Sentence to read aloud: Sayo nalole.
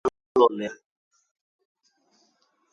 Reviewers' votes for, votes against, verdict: 0, 2, rejected